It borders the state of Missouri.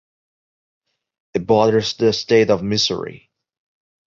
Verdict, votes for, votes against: accepted, 2, 0